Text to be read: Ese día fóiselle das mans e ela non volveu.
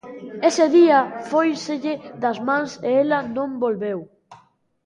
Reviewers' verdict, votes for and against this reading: accepted, 2, 0